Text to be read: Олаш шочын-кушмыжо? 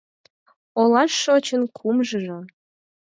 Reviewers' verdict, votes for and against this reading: rejected, 2, 4